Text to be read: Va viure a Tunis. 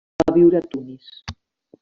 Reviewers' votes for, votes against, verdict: 1, 2, rejected